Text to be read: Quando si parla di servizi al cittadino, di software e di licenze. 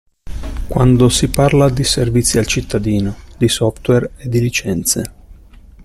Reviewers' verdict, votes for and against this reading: accepted, 2, 0